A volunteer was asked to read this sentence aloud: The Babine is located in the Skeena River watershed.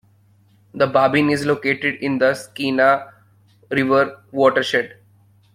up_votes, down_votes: 1, 2